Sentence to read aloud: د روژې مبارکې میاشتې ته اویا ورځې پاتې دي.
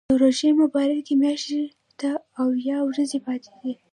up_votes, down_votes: 0, 2